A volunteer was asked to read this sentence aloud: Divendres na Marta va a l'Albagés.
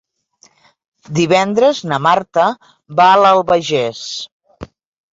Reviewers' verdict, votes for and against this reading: accepted, 2, 0